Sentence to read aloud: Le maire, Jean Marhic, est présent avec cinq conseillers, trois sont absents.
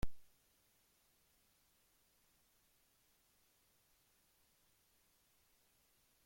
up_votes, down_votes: 0, 2